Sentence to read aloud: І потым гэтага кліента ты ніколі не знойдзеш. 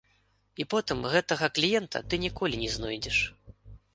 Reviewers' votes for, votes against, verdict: 2, 0, accepted